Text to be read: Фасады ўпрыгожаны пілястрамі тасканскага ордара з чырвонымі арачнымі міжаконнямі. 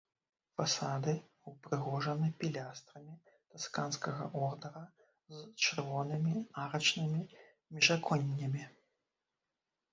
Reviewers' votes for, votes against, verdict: 0, 2, rejected